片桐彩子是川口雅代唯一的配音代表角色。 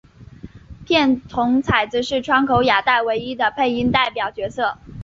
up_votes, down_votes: 3, 0